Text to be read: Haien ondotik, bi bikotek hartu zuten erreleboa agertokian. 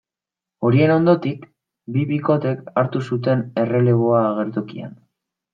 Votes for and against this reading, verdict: 2, 1, accepted